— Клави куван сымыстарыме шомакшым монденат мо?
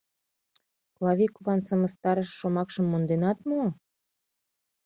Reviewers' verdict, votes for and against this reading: rejected, 0, 2